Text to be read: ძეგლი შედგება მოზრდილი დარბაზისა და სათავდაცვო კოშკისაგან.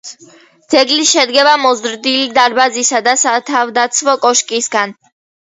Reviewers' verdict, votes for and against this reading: accepted, 2, 0